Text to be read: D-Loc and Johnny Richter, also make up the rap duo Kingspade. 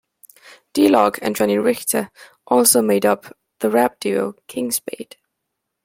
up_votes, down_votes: 1, 2